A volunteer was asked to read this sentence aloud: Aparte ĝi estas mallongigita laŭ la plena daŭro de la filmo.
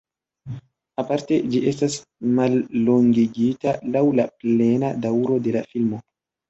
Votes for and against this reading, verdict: 2, 1, accepted